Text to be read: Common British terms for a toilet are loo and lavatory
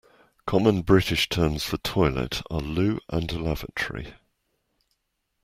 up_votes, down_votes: 1, 2